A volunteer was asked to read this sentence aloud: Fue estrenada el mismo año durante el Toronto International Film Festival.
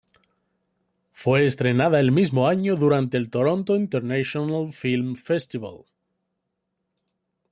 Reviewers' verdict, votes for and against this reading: accepted, 2, 0